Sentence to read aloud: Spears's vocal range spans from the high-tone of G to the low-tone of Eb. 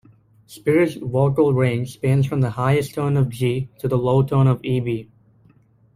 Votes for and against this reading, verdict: 1, 2, rejected